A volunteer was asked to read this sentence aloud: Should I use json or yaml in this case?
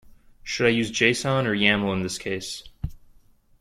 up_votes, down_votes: 2, 0